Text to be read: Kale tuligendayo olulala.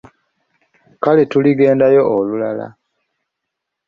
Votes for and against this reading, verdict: 2, 0, accepted